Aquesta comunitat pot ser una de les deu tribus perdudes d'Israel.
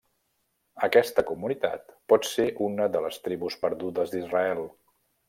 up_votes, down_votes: 0, 2